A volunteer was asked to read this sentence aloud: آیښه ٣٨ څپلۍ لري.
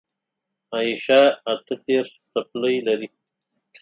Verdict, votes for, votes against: rejected, 0, 2